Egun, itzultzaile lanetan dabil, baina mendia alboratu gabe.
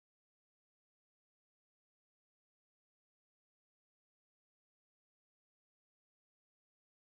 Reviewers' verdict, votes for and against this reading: rejected, 0, 2